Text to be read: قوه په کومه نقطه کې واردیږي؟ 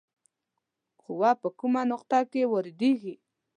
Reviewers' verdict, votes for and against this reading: accepted, 2, 0